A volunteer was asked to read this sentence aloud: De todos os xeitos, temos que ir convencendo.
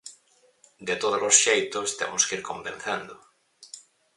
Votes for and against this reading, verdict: 4, 0, accepted